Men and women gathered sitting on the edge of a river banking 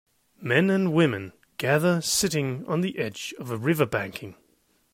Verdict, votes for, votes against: rejected, 0, 2